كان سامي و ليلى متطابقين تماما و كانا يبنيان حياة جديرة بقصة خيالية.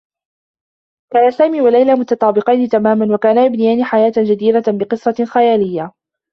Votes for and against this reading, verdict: 2, 0, accepted